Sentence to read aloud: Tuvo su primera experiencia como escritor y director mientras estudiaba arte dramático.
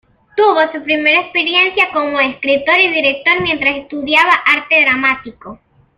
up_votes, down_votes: 2, 0